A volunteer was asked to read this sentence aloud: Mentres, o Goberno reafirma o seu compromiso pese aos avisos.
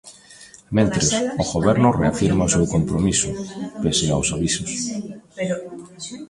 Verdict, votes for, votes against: accepted, 2, 1